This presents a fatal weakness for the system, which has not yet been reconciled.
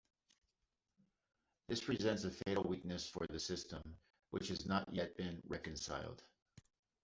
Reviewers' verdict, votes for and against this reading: accepted, 2, 0